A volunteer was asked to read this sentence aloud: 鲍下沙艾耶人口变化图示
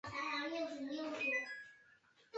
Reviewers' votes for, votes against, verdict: 0, 2, rejected